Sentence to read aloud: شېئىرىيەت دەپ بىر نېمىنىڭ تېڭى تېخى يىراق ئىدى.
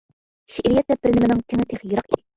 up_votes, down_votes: 0, 2